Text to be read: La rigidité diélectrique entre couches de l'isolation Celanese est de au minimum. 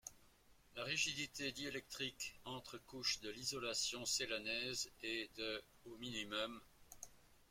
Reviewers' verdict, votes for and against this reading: rejected, 0, 2